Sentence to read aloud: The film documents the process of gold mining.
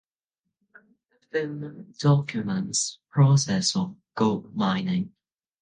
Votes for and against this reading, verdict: 0, 2, rejected